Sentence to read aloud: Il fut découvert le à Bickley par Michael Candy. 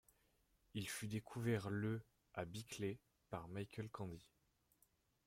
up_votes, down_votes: 2, 0